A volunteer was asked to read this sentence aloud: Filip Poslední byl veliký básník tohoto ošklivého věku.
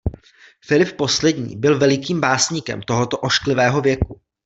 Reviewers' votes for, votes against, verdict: 1, 2, rejected